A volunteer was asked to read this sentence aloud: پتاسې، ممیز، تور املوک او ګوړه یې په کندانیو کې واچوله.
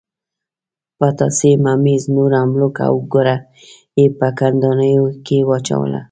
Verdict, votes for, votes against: accepted, 2, 0